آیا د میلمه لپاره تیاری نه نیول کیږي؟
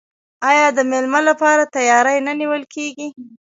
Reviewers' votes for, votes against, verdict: 1, 2, rejected